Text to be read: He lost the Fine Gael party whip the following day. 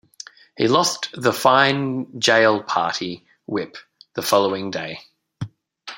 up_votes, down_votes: 0, 2